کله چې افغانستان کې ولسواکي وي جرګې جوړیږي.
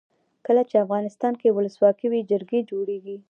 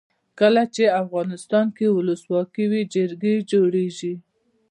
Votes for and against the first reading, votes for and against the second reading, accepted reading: 2, 1, 0, 2, first